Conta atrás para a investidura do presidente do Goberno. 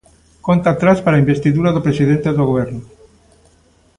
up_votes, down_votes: 2, 0